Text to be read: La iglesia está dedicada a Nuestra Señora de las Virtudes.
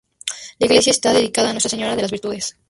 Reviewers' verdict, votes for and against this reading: rejected, 0, 2